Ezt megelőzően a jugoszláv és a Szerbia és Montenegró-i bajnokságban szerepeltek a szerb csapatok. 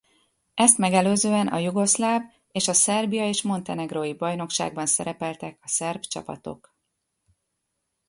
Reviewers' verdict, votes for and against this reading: rejected, 0, 2